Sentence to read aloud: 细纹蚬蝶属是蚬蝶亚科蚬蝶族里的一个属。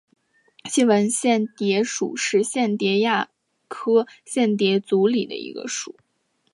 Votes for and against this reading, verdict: 3, 0, accepted